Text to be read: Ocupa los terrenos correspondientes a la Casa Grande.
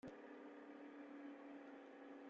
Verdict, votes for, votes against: rejected, 0, 3